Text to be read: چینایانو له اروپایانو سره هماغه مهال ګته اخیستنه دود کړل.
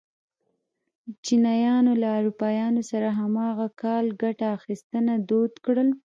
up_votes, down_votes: 1, 2